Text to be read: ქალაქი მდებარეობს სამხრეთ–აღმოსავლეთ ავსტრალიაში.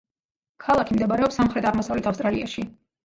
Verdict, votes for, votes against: rejected, 1, 2